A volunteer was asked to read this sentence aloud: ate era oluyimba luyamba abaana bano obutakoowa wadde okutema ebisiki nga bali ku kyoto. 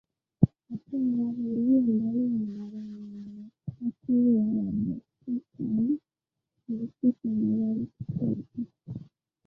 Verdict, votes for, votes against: rejected, 0, 2